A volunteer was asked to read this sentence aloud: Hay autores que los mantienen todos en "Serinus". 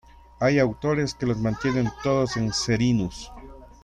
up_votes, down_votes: 2, 1